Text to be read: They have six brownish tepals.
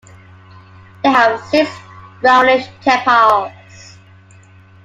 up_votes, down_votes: 0, 2